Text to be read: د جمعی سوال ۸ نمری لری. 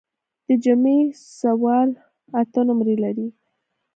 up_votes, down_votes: 0, 2